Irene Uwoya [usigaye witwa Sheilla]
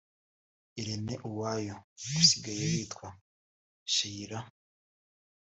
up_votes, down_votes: 2, 1